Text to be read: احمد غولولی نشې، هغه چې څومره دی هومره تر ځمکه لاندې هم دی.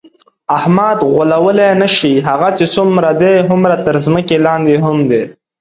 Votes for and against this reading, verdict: 3, 0, accepted